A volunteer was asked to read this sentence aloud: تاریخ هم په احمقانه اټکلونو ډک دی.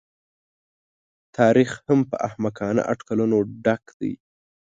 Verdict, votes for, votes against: accepted, 2, 0